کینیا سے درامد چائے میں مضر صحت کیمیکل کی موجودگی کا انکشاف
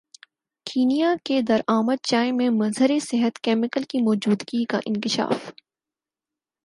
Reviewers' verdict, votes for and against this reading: accepted, 4, 0